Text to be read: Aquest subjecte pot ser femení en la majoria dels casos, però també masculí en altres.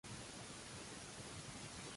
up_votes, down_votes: 0, 2